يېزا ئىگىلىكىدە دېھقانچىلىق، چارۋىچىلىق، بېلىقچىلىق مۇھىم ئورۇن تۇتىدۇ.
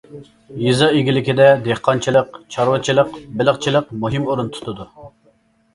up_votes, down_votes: 2, 0